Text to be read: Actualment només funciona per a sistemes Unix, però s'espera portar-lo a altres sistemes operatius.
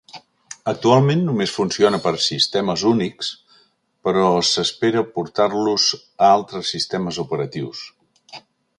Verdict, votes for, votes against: rejected, 1, 2